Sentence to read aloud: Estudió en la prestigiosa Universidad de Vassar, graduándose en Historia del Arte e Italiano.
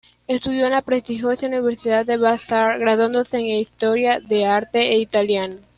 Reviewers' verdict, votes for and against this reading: rejected, 1, 2